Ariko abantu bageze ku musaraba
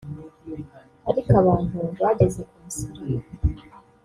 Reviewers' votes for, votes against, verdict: 0, 2, rejected